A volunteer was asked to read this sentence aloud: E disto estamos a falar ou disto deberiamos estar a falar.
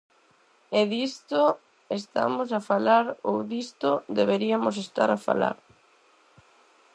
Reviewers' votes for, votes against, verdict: 0, 4, rejected